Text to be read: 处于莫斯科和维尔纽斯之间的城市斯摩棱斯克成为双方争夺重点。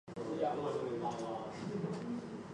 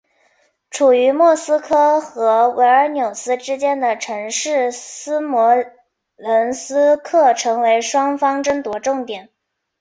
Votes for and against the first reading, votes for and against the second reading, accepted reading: 0, 3, 2, 0, second